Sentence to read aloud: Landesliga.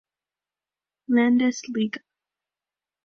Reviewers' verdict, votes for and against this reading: rejected, 1, 2